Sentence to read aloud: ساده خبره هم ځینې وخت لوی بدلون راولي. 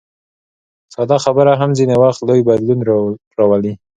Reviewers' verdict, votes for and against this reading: accepted, 2, 0